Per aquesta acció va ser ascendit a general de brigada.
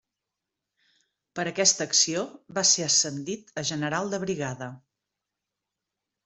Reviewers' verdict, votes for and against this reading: accepted, 3, 0